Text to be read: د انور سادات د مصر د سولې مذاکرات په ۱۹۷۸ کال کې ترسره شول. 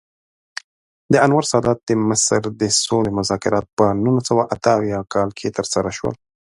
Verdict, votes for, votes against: rejected, 0, 2